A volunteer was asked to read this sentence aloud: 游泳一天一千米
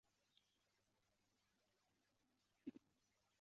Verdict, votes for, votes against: rejected, 0, 2